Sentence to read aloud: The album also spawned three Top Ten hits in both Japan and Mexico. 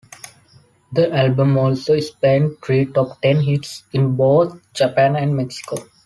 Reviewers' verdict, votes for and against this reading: rejected, 1, 2